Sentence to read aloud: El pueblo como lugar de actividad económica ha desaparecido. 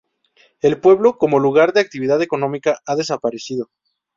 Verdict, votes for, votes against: accepted, 2, 0